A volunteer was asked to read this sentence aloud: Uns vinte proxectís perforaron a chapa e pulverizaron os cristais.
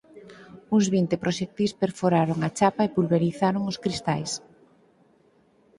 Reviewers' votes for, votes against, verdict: 4, 0, accepted